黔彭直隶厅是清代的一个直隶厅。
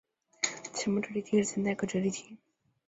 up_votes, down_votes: 0, 2